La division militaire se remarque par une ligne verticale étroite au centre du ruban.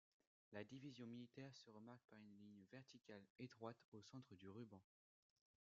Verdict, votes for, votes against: accepted, 2, 0